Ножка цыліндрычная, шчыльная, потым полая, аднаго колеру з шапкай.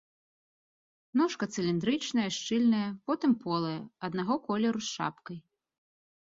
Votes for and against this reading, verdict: 2, 0, accepted